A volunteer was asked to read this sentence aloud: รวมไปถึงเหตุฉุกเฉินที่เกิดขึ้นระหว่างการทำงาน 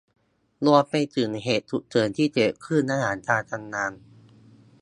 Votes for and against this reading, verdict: 0, 2, rejected